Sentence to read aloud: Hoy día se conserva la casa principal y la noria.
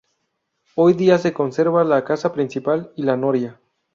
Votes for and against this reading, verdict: 2, 2, rejected